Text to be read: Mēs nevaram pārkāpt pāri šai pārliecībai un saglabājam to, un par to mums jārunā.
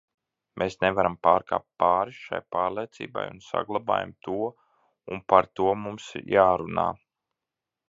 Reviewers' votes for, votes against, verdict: 0, 2, rejected